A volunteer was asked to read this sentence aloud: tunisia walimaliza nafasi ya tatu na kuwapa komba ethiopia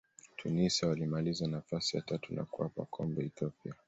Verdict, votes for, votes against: accepted, 2, 0